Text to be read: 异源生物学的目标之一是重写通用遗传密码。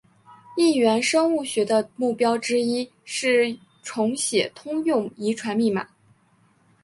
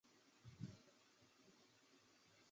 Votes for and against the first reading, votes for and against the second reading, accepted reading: 4, 0, 0, 3, first